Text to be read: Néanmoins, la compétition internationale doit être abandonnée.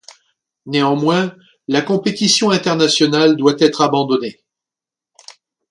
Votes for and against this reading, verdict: 2, 0, accepted